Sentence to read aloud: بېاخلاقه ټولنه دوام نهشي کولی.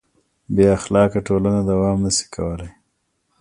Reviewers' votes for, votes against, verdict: 2, 0, accepted